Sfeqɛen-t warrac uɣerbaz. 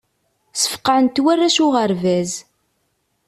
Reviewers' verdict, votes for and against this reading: accepted, 2, 0